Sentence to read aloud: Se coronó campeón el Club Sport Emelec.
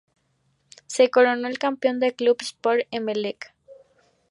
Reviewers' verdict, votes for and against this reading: rejected, 0, 2